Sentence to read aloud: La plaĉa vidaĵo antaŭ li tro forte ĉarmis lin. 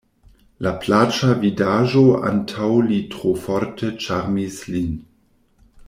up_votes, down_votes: 2, 0